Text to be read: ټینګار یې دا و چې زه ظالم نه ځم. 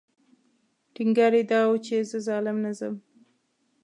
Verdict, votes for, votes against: accepted, 2, 0